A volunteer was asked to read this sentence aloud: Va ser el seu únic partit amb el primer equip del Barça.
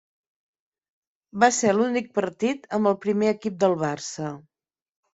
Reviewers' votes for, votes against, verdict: 1, 2, rejected